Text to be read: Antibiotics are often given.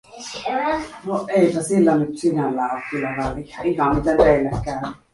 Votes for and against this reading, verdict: 0, 2, rejected